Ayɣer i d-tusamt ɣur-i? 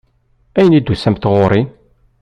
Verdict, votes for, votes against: rejected, 1, 2